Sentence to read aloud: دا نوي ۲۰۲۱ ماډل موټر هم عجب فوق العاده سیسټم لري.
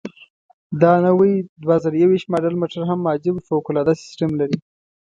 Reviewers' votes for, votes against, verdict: 0, 2, rejected